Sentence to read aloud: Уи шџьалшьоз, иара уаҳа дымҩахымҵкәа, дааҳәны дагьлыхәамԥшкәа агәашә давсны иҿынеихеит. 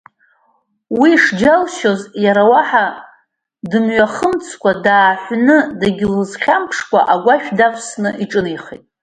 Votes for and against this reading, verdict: 2, 0, accepted